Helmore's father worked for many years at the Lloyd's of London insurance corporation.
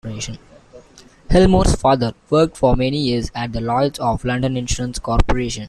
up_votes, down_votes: 2, 1